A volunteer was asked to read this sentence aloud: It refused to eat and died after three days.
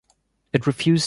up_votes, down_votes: 0, 2